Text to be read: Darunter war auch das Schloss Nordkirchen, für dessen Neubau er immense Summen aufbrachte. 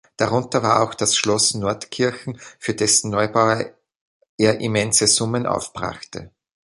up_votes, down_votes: 1, 2